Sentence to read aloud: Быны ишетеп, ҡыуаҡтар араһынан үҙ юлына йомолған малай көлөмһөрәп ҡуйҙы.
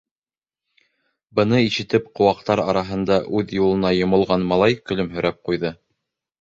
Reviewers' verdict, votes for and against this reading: rejected, 0, 2